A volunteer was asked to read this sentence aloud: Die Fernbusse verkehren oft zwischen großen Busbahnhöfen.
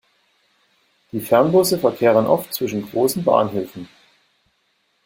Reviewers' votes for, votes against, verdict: 0, 2, rejected